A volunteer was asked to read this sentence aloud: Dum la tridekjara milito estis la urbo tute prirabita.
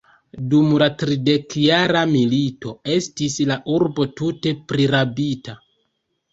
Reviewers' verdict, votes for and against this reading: accepted, 2, 1